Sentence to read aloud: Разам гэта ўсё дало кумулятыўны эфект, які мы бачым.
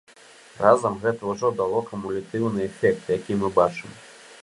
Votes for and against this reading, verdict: 2, 1, accepted